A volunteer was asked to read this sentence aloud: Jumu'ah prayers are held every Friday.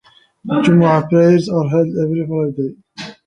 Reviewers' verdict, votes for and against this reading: rejected, 0, 2